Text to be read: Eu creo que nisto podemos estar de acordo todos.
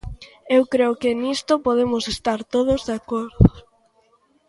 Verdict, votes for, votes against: rejected, 0, 2